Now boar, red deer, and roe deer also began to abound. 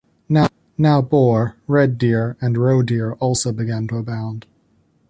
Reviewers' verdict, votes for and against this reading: rejected, 1, 2